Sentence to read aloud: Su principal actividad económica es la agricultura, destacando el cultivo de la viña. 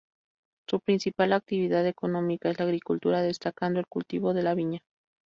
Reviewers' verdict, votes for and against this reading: rejected, 0, 2